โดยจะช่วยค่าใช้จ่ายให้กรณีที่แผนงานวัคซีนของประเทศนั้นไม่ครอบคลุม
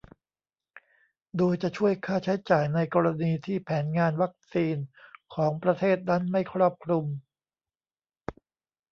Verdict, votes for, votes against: rejected, 1, 2